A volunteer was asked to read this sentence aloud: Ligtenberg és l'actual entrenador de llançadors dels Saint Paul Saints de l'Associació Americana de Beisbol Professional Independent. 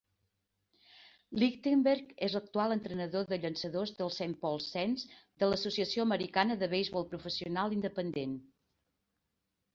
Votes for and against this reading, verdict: 2, 0, accepted